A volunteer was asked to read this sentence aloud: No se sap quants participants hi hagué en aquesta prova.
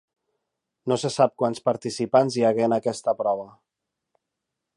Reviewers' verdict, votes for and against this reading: accepted, 4, 0